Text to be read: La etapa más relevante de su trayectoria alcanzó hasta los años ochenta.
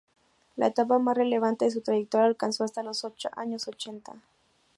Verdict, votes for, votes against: rejected, 0, 2